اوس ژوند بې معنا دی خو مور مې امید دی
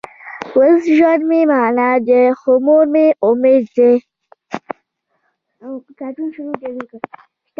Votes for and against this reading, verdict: 1, 2, rejected